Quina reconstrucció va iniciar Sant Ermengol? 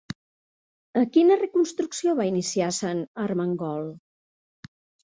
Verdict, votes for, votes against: rejected, 1, 2